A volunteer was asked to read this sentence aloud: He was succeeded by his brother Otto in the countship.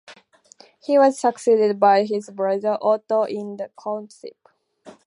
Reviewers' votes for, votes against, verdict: 0, 2, rejected